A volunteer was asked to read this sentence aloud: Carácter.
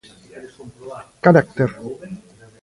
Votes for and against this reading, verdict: 1, 2, rejected